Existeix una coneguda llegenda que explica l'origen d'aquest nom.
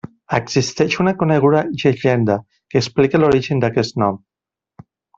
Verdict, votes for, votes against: accepted, 2, 1